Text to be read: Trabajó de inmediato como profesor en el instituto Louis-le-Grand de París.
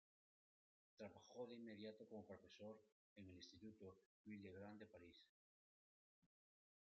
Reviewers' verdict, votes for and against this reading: accepted, 2, 1